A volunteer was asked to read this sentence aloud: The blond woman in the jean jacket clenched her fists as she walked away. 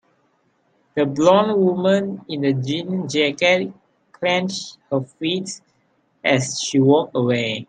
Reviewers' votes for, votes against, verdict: 2, 0, accepted